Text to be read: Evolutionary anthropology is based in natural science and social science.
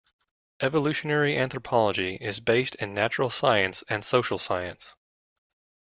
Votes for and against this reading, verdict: 2, 0, accepted